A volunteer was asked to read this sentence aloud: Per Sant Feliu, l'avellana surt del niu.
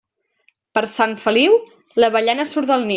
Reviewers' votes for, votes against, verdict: 1, 2, rejected